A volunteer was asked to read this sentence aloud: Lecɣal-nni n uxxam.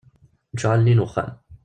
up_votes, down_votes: 1, 2